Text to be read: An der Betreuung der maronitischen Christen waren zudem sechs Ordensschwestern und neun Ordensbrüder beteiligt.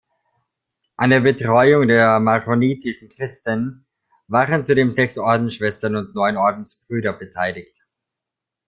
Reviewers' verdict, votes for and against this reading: accepted, 2, 1